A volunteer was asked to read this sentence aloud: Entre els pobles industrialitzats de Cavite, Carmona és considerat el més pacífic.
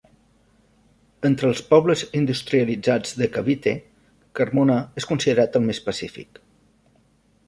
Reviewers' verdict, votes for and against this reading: rejected, 0, 2